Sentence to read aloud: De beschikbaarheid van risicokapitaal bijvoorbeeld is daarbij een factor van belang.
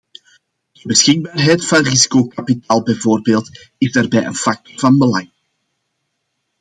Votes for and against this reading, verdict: 2, 0, accepted